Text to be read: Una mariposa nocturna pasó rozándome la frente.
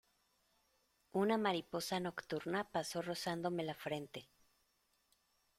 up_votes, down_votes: 2, 0